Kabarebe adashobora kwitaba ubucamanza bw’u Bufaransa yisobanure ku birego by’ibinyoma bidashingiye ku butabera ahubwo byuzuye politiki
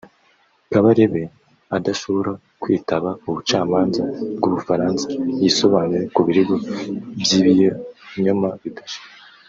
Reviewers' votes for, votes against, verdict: 0, 3, rejected